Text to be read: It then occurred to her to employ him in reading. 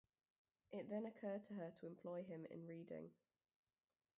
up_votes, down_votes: 0, 2